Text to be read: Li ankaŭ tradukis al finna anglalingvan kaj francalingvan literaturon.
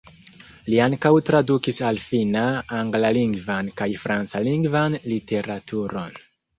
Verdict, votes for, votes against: rejected, 1, 2